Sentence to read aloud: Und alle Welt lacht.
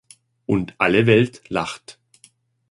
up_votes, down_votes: 2, 0